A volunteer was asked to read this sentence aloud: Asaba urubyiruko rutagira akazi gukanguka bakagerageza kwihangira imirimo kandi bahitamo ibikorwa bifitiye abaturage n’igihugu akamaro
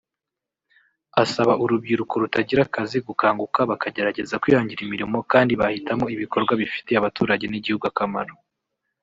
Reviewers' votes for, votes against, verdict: 0, 2, rejected